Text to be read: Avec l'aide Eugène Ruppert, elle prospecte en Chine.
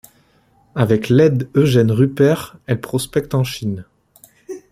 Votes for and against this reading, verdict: 1, 2, rejected